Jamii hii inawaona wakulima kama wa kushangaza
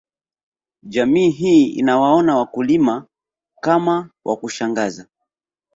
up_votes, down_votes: 2, 1